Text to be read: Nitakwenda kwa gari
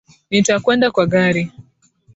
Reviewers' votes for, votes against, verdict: 2, 0, accepted